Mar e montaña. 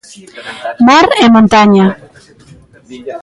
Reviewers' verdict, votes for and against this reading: rejected, 1, 2